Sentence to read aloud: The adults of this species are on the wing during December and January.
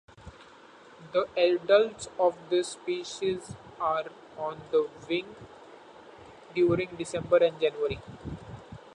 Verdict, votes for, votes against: accepted, 2, 0